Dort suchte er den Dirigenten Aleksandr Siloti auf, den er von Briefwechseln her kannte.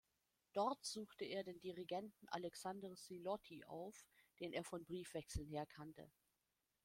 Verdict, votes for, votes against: accepted, 2, 0